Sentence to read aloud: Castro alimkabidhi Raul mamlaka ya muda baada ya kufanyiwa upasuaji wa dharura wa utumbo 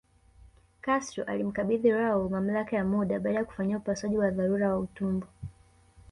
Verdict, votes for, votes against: rejected, 0, 2